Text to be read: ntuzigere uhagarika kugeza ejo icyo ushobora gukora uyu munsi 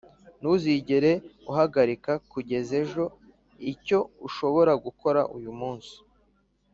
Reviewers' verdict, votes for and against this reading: accepted, 2, 0